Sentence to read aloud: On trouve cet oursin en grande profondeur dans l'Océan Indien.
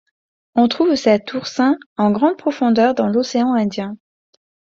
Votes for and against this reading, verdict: 2, 0, accepted